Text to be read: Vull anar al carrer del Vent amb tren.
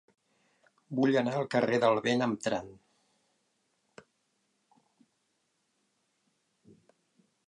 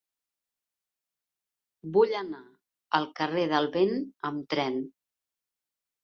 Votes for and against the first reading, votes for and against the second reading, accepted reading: 3, 7, 3, 0, second